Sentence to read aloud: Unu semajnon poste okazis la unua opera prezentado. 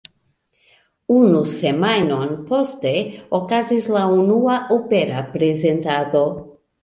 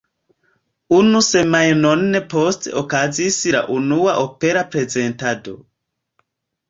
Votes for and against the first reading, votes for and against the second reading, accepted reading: 2, 0, 1, 2, first